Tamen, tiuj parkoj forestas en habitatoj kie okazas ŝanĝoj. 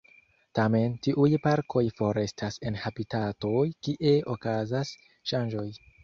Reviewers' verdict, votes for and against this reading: accepted, 2, 0